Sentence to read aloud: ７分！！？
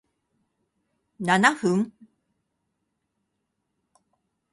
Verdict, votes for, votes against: rejected, 0, 2